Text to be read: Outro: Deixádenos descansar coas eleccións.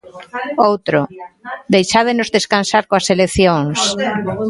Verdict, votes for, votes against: accepted, 2, 0